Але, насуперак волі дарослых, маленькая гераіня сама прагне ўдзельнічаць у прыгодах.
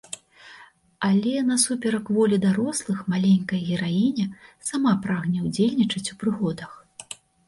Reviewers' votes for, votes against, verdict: 2, 0, accepted